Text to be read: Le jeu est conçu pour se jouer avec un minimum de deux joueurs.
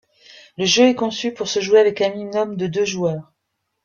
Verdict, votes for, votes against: accepted, 2, 0